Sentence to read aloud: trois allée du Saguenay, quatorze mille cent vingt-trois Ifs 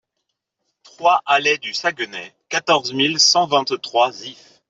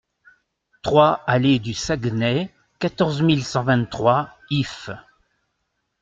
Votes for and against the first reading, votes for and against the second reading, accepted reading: 2, 3, 3, 0, second